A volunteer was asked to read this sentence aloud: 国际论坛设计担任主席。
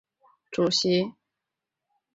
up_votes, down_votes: 0, 3